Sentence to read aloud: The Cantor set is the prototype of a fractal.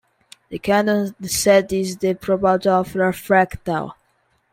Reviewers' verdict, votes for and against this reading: rejected, 0, 2